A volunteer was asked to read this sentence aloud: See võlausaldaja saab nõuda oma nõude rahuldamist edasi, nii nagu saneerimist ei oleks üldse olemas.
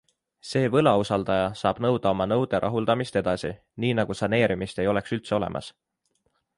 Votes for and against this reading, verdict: 3, 0, accepted